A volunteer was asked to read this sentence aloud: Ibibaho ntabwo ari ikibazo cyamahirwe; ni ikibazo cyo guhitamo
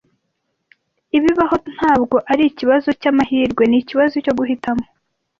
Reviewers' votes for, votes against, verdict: 2, 0, accepted